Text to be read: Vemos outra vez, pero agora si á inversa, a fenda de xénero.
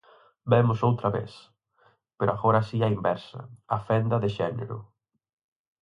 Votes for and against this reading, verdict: 4, 0, accepted